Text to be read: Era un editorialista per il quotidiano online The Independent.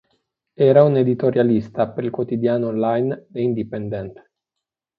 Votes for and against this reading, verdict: 2, 0, accepted